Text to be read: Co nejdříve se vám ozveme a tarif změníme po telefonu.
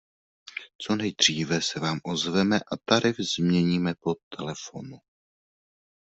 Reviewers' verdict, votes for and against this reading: accepted, 2, 0